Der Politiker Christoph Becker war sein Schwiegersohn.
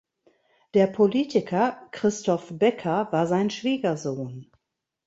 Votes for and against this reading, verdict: 2, 0, accepted